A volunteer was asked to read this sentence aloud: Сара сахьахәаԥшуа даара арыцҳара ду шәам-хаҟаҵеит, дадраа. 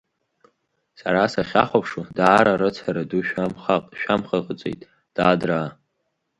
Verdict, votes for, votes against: rejected, 1, 2